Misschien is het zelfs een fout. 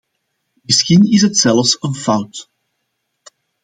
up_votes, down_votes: 2, 1